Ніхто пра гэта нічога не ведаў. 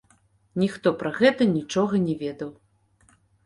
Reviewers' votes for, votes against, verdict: 2, 0, accepted